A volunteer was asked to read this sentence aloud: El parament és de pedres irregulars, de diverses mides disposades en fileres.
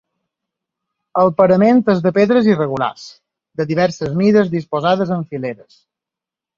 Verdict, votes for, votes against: accepted, 4, 0